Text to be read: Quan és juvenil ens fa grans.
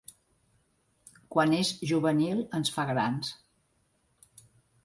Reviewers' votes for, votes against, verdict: 3, 0, accepted